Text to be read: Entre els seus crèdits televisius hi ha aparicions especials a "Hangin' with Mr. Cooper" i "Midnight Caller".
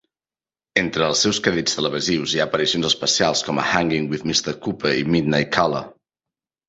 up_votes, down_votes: 0, 2